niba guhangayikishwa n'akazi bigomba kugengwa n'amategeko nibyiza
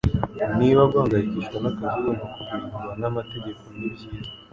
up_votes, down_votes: 2, 0